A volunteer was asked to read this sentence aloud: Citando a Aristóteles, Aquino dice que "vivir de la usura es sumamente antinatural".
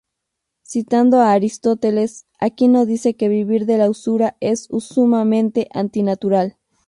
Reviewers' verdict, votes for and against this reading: rejected, 0, 2